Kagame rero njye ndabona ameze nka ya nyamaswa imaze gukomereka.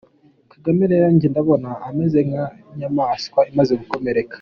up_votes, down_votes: 2, 0